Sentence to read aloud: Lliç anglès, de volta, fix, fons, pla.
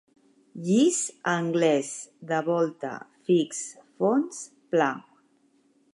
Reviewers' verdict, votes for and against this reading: accepted, 2, 0